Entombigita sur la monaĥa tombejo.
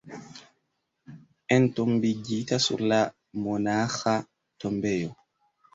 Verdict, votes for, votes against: accepted, 2, 0